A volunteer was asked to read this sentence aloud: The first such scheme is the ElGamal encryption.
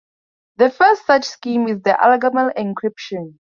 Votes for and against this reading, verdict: 2, 0, accepted